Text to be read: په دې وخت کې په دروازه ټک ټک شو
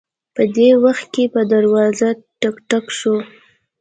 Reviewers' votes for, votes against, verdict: 2, 0, accepted